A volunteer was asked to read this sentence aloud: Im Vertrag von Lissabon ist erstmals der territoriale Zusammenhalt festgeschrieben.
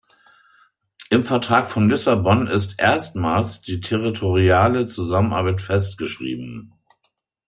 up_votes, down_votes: 0, 2